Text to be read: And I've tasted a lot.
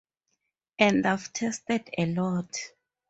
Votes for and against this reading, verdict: 2, 2, rejected